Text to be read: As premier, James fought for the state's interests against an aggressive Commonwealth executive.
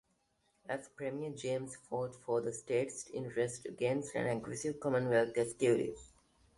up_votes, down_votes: 2, 0